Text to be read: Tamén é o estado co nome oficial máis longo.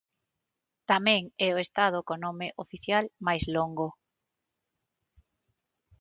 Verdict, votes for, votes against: accepted, 6, 0